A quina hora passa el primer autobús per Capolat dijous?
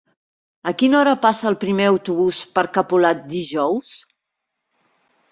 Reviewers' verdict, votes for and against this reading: accepted, 3, 0